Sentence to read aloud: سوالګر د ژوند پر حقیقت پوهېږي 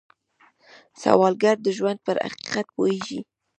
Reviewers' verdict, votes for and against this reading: accepted, 2, 0